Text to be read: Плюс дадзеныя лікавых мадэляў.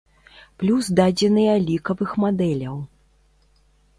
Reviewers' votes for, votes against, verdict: 2, 0, accepted